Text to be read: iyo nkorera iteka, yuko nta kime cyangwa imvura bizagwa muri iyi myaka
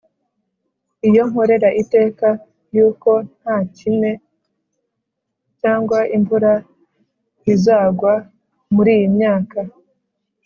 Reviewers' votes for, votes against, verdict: 2, 0, accepted